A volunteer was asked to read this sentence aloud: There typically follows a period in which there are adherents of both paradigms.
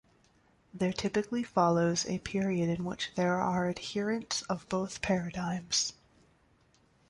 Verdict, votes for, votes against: accepted, 2, 0